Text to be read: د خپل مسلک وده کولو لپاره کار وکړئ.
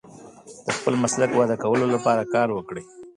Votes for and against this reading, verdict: 1, 2, rejected